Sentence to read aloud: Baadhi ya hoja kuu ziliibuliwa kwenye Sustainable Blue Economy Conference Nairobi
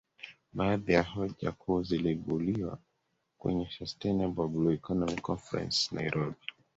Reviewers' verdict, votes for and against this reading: rejected, 1, 2